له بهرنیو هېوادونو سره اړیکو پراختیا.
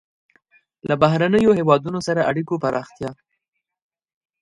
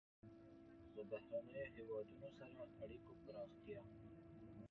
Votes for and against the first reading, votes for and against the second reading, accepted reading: 2, 0, 0, 2, first